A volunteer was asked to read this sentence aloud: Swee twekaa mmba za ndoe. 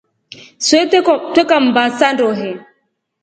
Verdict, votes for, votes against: rejected, 0, 2